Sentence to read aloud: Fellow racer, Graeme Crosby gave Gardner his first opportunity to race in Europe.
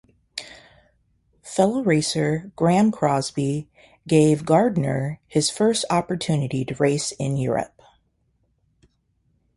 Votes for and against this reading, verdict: 2, 0, accepted